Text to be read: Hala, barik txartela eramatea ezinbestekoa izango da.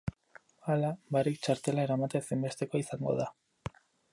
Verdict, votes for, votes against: rejected, 0, 2